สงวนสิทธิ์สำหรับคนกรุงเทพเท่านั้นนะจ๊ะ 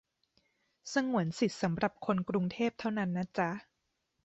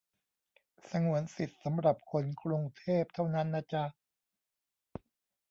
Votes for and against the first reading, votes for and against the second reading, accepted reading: 3, 0, 0, 2, first